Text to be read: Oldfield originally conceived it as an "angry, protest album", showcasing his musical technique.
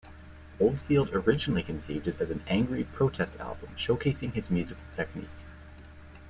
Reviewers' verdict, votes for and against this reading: accepted, 2, 0